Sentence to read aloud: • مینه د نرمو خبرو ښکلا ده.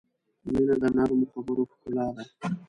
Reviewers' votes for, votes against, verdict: 3, 0, accepted